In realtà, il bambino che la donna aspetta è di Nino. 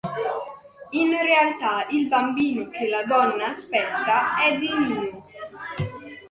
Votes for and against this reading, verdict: 2, 1, accepted